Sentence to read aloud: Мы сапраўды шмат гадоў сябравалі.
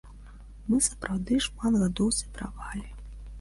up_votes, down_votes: 1, 2